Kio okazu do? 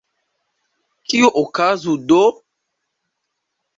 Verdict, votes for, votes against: rejected, 0, 2